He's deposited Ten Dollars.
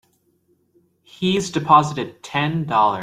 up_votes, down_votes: 2, 5